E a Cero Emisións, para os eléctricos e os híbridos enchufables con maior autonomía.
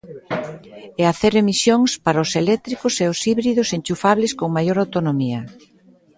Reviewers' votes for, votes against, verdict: 2, 0, accepted